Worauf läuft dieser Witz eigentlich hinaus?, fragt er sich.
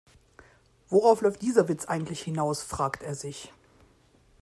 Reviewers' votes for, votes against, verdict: 2, 0, accepted